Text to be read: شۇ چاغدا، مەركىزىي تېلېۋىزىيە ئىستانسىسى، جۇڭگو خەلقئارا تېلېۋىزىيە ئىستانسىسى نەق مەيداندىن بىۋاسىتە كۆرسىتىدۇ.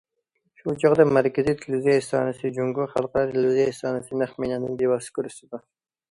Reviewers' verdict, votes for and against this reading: rejected, 1, 2